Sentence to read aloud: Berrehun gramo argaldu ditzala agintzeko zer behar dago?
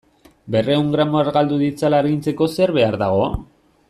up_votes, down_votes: 2, 0